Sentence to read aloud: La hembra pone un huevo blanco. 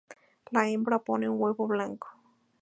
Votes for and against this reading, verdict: 2, 2, rejected